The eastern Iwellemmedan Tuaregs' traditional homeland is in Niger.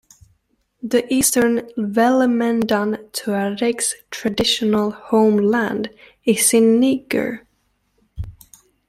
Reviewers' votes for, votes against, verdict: 2, 0, accepted